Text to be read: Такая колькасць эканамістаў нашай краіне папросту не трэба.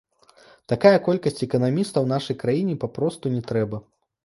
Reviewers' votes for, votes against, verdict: 2, 0, accepted